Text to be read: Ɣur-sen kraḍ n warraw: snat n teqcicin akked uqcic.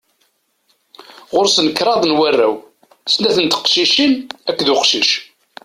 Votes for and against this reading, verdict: 2, 0, accepted